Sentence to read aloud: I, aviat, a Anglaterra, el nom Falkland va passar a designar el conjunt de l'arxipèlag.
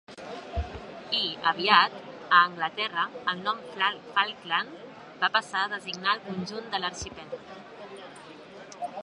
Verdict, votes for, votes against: rejected, 0, 2